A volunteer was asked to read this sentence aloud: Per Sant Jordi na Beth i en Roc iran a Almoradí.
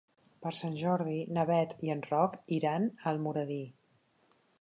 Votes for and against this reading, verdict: 4, 0, accepted